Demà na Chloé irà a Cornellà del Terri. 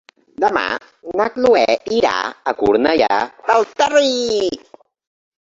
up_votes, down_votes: 0, 2